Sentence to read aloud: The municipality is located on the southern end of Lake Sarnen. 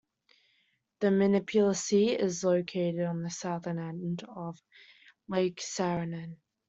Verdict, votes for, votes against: rejected, 1, 2